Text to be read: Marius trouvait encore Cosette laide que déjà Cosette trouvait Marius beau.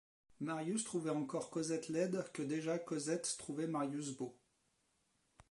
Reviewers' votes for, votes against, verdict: 2, 1, accepted